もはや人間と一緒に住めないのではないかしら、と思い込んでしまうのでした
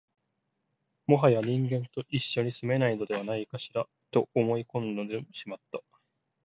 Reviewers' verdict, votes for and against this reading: rejected, 0, 2